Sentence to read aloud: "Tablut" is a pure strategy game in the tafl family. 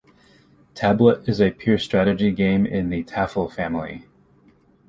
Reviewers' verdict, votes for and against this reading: accepted, 2, 0